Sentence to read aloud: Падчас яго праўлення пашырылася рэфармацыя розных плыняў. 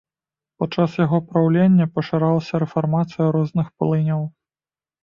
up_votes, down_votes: 2, 1